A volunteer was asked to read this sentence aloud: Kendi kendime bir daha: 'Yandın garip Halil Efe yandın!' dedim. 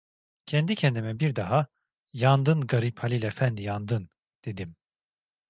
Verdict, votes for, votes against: rejected, 1, 2